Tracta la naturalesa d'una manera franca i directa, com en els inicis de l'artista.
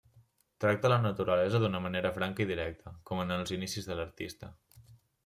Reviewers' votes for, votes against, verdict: 3, 0, accepted